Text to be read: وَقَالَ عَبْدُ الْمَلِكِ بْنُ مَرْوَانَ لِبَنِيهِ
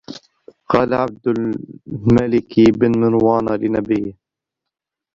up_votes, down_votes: 0, 2